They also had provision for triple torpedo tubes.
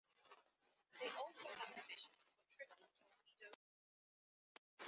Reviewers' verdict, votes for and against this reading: rejected, 0, 2